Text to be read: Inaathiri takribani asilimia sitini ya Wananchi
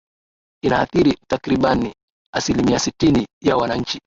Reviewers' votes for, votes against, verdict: 2, 0, accepted